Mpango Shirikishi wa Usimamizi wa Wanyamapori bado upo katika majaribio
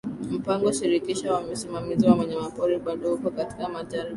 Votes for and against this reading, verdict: 1, 2, rejected